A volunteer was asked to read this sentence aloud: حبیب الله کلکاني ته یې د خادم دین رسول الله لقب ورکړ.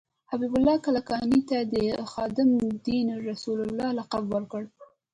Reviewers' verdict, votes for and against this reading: rejected, 0, 2